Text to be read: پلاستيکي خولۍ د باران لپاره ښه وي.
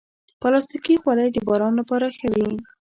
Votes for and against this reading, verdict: 1, 2, rejected